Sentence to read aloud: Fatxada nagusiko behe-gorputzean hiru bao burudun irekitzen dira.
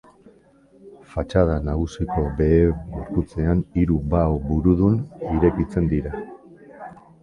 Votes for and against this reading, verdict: 2, 1, accepted